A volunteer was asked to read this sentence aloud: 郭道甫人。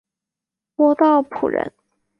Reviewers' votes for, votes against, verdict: 0, 2, rejected